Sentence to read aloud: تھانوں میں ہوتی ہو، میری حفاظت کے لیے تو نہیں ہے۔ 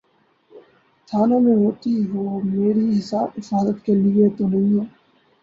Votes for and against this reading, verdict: 0, 2, rejected